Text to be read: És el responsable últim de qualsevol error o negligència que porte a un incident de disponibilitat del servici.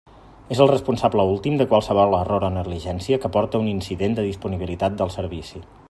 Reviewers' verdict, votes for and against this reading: accepted, 2, 1